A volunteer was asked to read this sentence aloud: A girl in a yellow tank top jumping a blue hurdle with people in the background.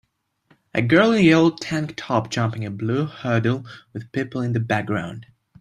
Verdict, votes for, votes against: accepted, 2, 0